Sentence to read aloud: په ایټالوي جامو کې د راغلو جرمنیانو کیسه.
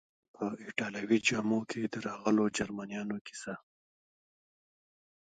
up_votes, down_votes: 1, 2